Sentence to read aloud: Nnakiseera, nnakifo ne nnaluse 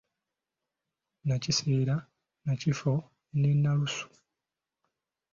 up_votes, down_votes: 1, 2